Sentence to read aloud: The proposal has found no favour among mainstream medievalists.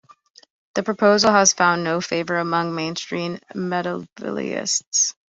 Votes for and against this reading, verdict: 1, 2, rejected